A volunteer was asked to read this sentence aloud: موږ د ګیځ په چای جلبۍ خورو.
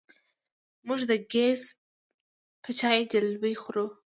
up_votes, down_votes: 1, 2